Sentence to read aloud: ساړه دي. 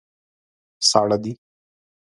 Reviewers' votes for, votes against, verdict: 2, 0, accepted